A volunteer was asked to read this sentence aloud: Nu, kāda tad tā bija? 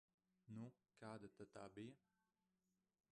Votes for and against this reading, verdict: 1, 2, rejected